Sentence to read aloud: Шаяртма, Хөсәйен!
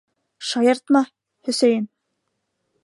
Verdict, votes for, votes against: accepted, 2, 1